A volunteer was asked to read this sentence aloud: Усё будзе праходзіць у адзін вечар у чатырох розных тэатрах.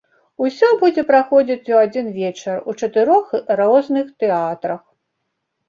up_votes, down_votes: 2, 1